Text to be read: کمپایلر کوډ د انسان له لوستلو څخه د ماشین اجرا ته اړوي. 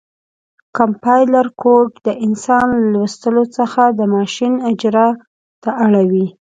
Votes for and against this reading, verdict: 2, 0, accepted